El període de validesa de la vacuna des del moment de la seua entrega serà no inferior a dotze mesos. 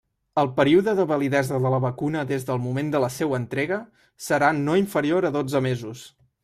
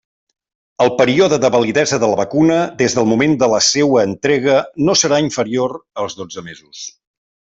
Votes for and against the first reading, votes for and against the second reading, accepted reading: 3, 0, 0, 2, first